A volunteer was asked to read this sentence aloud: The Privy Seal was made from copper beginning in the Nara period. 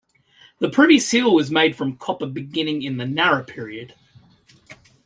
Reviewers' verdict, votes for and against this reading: rejected, 0, 2